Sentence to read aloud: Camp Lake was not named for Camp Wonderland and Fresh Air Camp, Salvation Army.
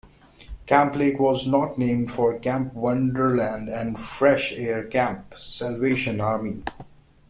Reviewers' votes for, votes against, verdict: 2, 0, accepted